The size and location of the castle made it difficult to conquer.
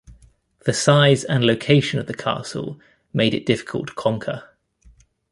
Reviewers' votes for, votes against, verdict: 2, 0, accepted